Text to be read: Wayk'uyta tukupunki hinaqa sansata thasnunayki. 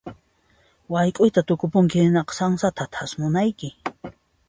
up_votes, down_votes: 2, 0